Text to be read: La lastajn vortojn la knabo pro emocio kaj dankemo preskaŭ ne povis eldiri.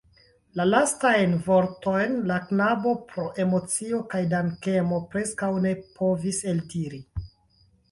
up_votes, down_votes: 2, 0